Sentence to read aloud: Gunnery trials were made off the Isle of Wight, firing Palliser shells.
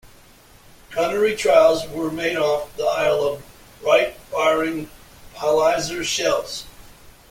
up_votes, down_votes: 1, 2